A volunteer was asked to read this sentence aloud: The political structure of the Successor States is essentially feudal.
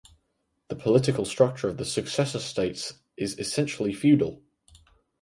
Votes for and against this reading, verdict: 4, 0, accepted